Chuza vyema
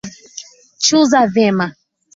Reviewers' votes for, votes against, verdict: 2, 1, accepted